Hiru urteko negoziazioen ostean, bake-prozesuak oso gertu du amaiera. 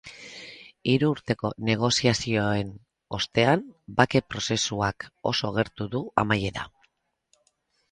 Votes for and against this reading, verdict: 4, 0, accepted